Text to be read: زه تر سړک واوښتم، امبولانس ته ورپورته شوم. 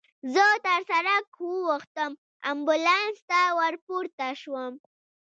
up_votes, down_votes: 2, 0